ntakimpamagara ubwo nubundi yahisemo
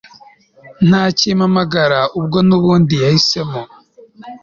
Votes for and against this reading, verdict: 3, 0, accepted